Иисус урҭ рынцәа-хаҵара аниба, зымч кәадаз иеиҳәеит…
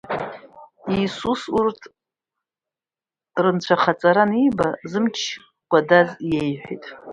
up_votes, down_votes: 1, 2